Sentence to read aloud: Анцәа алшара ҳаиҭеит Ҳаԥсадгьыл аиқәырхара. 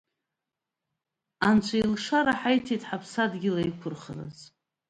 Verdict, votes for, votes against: accepted, 2, 0